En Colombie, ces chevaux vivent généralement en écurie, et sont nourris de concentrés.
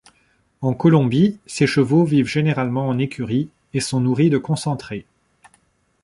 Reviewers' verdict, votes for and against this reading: accepted, 3, 0